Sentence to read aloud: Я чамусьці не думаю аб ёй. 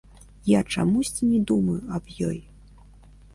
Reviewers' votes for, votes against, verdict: 0, 2, rejected